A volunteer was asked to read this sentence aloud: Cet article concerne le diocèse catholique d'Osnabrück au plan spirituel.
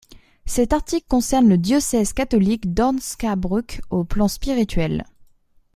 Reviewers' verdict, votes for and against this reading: rejected, 0, 2